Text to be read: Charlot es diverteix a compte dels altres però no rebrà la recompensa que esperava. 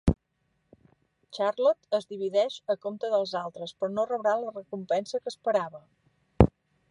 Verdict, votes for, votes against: rejected, 1, 2